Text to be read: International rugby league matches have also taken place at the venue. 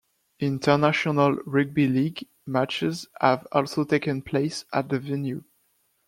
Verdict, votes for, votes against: accepted, 2, 1